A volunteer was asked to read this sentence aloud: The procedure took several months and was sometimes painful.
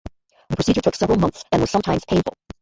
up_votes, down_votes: 0, 2